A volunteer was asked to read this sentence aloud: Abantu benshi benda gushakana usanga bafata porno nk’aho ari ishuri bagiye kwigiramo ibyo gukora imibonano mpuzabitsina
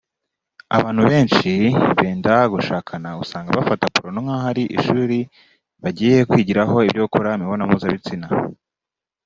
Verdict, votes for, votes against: rejected, 1, 2